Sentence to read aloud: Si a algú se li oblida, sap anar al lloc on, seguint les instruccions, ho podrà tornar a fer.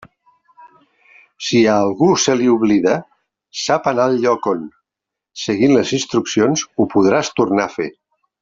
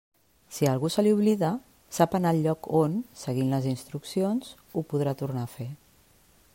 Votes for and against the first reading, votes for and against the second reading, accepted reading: 0, 2, 2, 0, second